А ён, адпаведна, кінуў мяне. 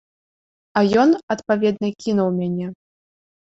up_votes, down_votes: 2, 0